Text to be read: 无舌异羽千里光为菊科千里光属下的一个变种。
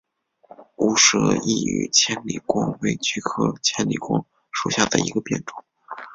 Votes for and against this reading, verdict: 2, 0, accepted